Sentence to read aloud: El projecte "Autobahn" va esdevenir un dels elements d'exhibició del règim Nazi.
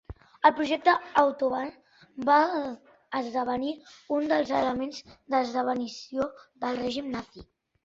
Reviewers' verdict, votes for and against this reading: rejected, 0, 2